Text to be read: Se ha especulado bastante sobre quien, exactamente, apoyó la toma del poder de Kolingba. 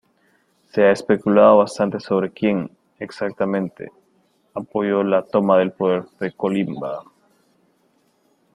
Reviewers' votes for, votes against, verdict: 2, 1, accepted